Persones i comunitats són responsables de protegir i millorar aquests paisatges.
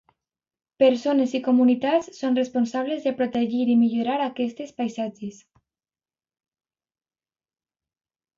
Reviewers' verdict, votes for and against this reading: rejected, 0, 2